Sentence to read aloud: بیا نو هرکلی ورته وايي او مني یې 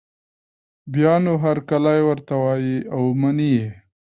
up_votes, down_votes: 1, 2